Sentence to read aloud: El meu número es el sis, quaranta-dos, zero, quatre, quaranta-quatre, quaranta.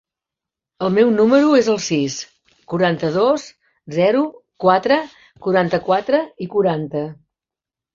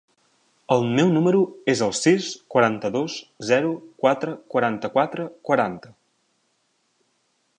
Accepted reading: second